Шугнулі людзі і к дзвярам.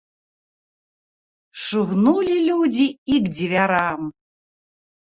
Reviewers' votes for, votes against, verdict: 2, 0, accepted